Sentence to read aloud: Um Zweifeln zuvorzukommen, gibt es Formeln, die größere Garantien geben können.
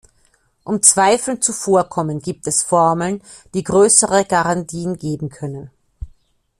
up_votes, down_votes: 0, 2